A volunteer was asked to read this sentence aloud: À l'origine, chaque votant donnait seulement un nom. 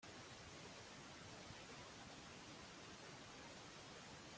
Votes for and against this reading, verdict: 1, 2, rejected